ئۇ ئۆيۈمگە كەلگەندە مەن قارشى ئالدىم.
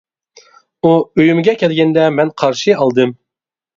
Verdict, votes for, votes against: accepted, 2, 0